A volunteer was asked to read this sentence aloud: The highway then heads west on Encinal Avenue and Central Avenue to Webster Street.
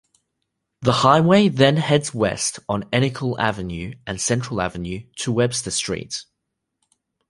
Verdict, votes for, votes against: accepted, 2, 0